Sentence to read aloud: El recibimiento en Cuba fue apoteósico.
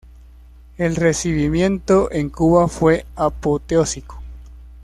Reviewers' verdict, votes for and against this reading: accepted, 2, 0